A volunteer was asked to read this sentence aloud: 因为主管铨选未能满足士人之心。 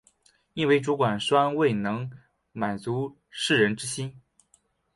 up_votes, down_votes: 4, 0